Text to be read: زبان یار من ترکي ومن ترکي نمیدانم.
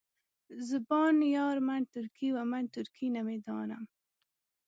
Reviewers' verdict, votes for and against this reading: accepted, 2, 0